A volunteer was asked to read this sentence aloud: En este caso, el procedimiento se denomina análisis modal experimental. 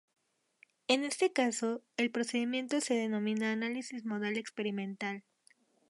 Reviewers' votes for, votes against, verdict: 2, 0, accepted